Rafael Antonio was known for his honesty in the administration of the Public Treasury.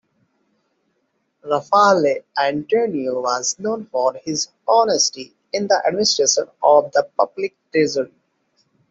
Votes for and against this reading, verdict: 1, 2, rejected